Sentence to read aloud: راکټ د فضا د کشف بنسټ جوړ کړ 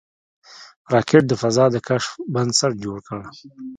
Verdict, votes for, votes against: accepted, 2, 1